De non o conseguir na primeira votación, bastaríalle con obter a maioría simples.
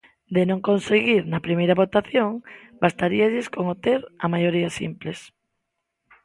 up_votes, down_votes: 0, 3